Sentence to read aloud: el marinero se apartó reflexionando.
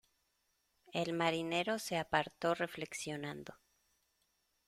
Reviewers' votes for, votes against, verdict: 2, 0, accepted